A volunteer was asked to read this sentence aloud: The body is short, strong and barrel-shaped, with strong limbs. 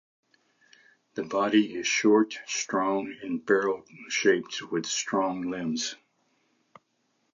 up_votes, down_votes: 2, 0